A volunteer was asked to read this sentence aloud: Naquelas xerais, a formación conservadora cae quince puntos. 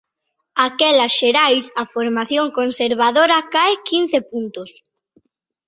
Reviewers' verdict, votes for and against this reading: rejected, 0, 2